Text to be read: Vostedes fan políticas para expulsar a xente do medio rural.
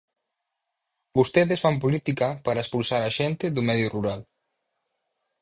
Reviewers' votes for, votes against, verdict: 0, 4, rejected